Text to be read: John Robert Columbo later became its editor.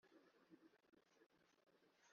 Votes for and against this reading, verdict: 0, 2, rejected